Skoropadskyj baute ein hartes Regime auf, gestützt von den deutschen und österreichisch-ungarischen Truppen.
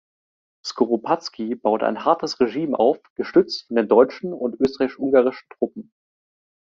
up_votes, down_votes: 1, 2